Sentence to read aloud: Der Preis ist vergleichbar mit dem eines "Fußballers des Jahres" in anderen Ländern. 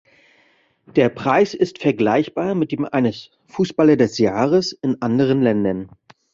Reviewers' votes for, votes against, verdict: 0, 2, rejected